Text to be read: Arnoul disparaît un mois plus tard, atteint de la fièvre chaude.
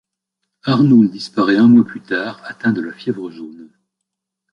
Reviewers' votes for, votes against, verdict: 0, 2, rejected